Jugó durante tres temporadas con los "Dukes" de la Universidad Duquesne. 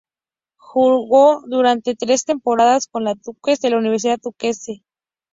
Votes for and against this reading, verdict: 0, 4, rejected